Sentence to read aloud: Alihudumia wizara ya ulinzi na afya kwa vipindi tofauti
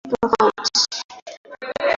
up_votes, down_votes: 0, 2